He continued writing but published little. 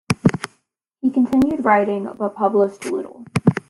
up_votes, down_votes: 2, 0